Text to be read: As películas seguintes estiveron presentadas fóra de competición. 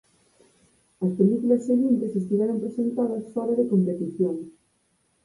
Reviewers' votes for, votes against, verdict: 2, 4, rejected